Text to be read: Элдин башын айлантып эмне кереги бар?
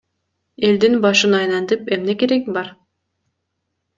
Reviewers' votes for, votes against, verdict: 2, 0, accepted